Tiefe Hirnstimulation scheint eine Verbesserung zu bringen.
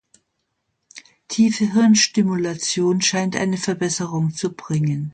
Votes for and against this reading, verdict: 2, 0, accepted